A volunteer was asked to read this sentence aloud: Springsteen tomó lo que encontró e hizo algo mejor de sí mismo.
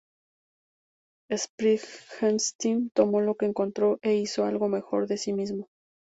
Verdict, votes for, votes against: rejected, 0, 2